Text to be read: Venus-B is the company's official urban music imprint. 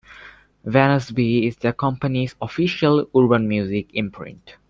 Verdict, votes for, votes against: accepted, 2, 0